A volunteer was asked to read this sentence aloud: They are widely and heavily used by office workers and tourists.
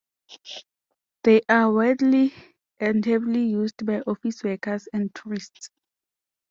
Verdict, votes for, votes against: accepted, 2, 0